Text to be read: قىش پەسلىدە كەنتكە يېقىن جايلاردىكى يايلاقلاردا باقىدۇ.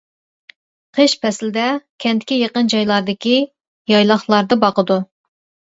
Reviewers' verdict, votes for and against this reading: accepted, 2, 0